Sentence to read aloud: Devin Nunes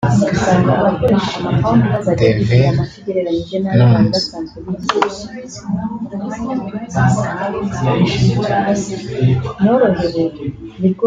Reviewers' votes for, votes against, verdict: 0, 3, rejected